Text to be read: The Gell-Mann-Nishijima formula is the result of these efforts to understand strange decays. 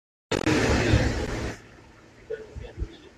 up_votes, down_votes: 0, 2